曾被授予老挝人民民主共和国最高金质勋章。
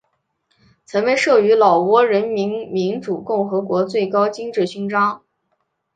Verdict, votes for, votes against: accepted, 4, 0